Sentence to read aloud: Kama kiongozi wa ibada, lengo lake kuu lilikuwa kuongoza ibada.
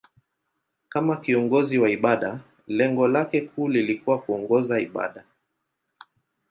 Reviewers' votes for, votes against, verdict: 2, 0, accepted